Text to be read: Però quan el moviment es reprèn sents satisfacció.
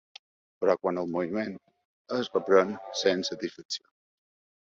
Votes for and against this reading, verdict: 0, 2, rejected